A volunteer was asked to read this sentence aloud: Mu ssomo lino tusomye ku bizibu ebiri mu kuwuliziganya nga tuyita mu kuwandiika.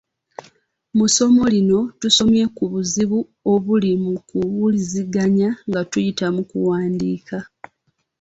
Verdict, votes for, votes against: rejected, 1, 2